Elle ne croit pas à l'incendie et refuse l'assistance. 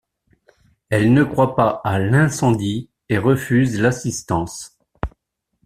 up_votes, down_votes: 2, 0